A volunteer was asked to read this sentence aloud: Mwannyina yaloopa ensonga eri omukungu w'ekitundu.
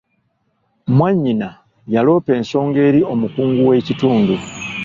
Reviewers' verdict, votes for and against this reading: accepted, 2, 0